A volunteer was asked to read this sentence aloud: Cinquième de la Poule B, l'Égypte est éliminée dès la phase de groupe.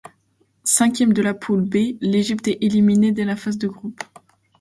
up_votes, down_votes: 2, 0